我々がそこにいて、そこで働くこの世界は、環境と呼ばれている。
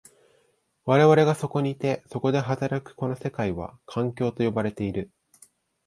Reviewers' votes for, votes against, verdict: 2, 0, accepted